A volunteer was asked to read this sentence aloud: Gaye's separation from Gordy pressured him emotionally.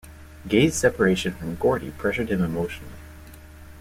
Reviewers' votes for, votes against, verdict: 1, 2, rejected